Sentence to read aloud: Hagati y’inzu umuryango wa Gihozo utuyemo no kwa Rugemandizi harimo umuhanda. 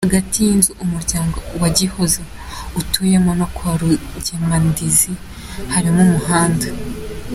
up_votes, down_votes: 2, 0